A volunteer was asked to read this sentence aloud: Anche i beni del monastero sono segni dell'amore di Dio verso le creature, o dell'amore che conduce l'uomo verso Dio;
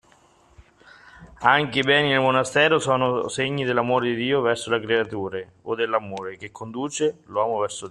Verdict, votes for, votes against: rejected, 1, 2